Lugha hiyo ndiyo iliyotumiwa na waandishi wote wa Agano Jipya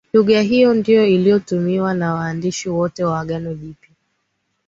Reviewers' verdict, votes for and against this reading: accepted, 2, 0